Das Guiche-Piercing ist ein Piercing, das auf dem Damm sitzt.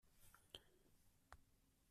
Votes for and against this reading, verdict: 0, 2, rejected